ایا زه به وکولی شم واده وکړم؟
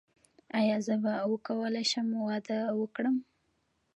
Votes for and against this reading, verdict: 2, 1, accepted